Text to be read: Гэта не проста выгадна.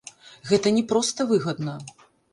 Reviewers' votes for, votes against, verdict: 1, 2, rejected